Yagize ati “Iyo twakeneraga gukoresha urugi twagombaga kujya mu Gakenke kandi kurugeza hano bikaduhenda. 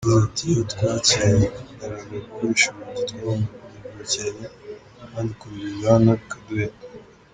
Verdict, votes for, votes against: rejected, 0, 2